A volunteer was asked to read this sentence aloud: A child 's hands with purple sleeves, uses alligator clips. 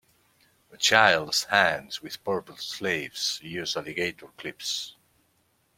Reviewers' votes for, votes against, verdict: 0, 2, rejected